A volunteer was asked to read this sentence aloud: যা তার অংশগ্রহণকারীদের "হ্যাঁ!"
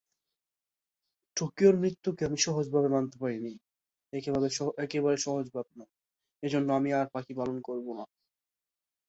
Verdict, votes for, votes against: rejected, 1, 3